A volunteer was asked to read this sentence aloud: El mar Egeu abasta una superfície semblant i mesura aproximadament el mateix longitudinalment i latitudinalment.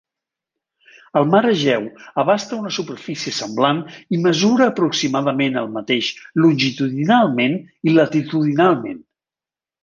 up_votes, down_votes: 2, 0